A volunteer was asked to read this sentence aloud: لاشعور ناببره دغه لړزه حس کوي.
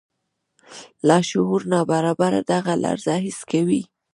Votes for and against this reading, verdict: 2, 1, accepted